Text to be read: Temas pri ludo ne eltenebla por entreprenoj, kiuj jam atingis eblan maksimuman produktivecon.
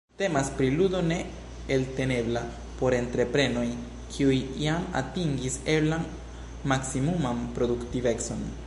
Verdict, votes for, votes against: accepted, 2, 0